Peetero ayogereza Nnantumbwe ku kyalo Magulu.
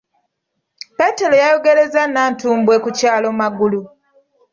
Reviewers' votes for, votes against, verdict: 0, 2, rejected